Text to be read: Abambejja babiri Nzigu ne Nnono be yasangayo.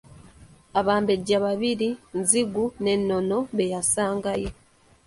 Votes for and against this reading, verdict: 2, 0, accepted